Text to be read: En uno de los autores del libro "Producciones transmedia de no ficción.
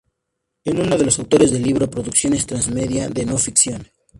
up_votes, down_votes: 2, 0